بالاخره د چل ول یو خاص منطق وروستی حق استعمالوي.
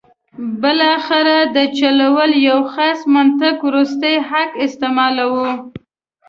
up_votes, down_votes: 1, 2